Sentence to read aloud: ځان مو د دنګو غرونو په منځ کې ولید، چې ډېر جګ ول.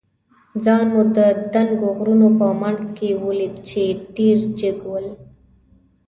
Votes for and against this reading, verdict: 2, 0, accepted